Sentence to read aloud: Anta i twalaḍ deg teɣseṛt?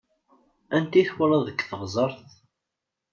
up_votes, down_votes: 0, 2